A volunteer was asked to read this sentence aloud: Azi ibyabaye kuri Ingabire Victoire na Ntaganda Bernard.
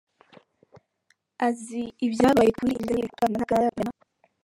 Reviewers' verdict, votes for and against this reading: rejected, 0, 3